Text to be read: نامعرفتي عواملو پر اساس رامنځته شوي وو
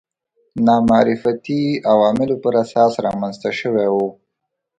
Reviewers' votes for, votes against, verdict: 3, 0, accepted